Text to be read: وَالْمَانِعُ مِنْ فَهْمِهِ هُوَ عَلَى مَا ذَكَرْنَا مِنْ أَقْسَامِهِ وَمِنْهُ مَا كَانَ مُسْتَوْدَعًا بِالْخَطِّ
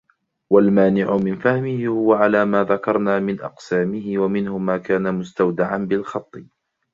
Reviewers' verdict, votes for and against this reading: accepted, 2, 0